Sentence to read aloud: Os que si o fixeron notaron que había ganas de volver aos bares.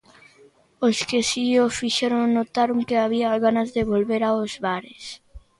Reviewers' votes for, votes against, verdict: 1, 2, rejected